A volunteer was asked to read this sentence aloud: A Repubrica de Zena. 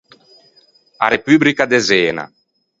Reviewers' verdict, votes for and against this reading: accepted, 4, 0